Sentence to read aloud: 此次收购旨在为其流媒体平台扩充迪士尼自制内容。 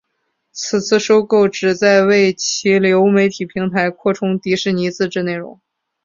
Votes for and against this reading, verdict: 3, 1, accepted